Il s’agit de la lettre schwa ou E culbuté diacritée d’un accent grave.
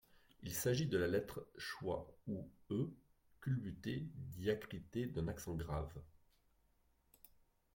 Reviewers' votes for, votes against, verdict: 0, 2, rejected